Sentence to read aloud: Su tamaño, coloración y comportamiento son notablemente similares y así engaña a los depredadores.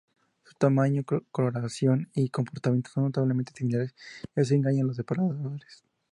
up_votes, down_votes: 0, 2